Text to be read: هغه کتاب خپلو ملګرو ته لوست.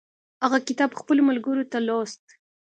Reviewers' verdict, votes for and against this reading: accepted, 2, 0